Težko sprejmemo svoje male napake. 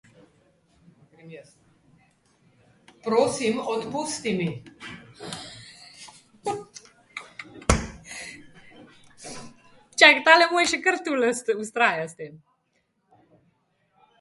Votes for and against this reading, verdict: 0, 2, rejected